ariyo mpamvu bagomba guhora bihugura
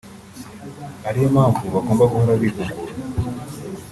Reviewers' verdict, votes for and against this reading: accepted, 2, 1